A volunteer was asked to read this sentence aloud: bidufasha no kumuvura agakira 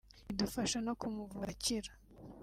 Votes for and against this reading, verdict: 1, 2, rejected